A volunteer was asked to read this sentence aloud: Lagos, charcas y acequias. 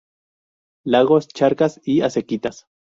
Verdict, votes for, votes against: rejected, 0, 2